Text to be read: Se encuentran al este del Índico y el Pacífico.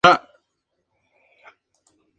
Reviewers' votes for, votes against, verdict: 0, 2, rejected